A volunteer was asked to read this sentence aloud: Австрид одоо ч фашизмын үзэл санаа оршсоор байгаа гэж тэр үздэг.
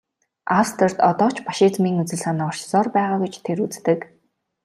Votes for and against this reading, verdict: 2, 0, accepted